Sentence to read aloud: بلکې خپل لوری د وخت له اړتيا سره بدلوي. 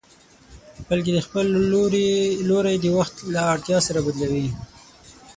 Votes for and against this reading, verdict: 0, 6, rejected